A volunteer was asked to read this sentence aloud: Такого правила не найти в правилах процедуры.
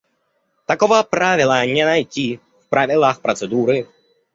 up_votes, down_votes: 1, 2